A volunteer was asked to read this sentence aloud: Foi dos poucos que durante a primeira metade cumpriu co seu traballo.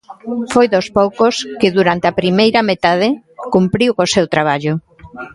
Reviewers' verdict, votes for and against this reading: rejected, 1, 2